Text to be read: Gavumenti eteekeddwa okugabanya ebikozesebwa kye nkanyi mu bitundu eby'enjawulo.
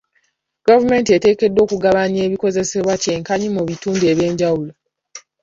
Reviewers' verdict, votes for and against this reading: accepted, 2, 0